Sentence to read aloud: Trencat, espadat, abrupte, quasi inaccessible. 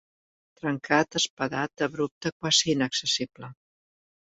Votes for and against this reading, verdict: 3, 0, accepted